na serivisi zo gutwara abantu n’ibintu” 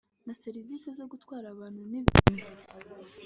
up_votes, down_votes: 2, 0